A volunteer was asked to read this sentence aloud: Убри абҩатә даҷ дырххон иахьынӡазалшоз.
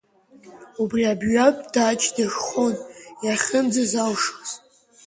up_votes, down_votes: 2, 1